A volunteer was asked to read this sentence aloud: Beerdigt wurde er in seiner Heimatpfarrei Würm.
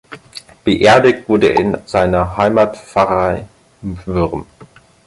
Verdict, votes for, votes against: accepted, 4, 2